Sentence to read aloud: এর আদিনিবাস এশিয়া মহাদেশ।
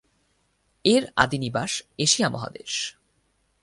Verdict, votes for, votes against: accepted, 4, 0